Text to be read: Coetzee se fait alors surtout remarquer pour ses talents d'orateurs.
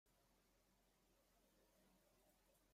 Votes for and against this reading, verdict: 1, 2, rejected